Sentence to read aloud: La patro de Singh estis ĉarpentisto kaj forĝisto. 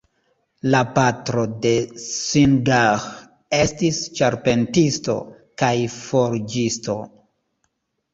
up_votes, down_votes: 0, 2